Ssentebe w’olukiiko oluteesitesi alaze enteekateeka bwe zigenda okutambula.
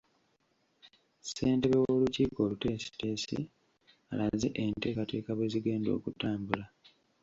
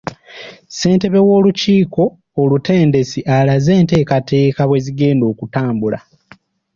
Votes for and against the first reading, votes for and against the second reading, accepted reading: 2, 1, 1, 2, first